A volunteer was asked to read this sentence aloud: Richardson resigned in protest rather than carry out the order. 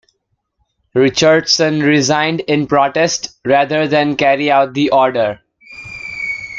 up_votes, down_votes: 2, 0